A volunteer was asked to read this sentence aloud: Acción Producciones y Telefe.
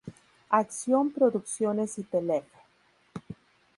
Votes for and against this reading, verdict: 2, 2, rejected